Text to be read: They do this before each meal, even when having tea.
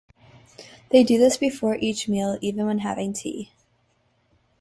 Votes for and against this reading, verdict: 2, 0, accepted